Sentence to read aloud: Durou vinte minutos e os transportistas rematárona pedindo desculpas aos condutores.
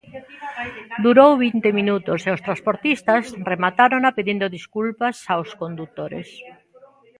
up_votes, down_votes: 0, 2